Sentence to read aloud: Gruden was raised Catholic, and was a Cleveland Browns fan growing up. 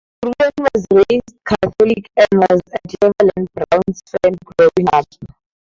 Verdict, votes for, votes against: rejected, 2, 2